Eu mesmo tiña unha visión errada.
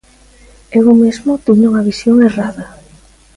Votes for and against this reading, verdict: 2, 0, accepted